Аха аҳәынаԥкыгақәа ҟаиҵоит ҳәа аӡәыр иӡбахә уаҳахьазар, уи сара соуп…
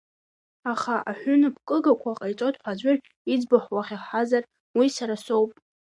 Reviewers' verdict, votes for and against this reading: accepted, 2, 1